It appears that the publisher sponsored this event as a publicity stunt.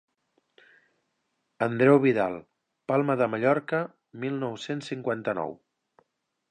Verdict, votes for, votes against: rejected, 0, 2